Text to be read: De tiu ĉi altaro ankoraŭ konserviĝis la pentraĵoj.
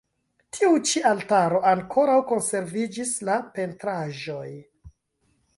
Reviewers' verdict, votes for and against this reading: rejected, 1, 2